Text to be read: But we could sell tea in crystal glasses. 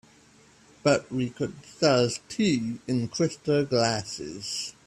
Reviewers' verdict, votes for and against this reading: rejected, 1, 2